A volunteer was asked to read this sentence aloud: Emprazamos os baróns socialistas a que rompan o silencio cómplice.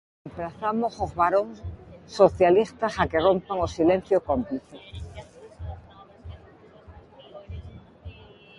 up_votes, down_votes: 1, 2